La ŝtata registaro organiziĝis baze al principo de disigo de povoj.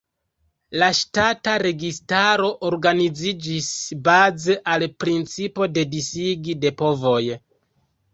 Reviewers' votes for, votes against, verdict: 0, 2, rejected